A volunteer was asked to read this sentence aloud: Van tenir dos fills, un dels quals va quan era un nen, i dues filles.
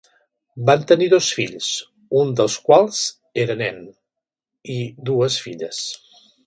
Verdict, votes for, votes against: rejected, 1, 2